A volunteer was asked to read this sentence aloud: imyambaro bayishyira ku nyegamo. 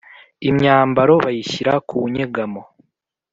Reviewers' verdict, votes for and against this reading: accepted, 2, 0